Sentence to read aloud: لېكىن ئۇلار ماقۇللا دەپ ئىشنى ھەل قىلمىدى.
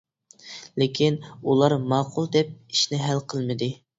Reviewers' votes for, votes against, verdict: 0, 2, rejected